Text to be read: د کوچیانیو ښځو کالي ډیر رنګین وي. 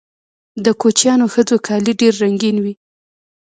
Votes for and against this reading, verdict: 0, 2, rejected